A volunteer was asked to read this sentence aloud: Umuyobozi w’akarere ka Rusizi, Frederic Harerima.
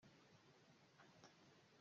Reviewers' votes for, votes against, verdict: 0, 2, rejected